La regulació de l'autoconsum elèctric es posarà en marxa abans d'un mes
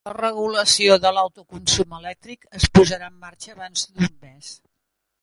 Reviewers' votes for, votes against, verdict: 1, 2, rejected